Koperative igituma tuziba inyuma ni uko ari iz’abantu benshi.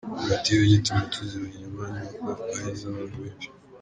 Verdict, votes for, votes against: rejected, 0, 2